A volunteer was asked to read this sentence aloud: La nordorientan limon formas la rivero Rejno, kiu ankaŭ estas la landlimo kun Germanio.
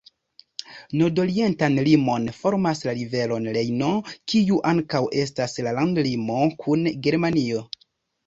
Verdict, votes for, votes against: rejected, 1, 2